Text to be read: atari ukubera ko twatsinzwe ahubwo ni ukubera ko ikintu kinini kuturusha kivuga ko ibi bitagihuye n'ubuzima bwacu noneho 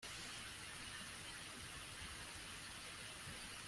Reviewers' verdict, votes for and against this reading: rejected, 0, 2